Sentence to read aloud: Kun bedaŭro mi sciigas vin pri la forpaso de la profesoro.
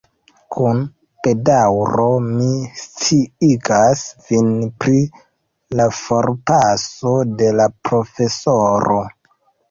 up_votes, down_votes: 1, 2